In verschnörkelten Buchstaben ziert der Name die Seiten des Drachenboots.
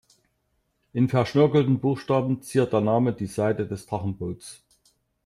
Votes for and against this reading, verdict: 0, 2, rejected